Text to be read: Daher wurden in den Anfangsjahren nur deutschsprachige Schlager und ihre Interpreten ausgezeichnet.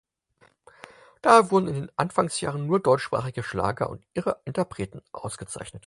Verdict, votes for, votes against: accepted, 4, 0